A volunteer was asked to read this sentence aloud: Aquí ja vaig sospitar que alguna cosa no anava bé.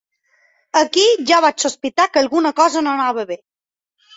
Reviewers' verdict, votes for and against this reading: accepted, 3, 0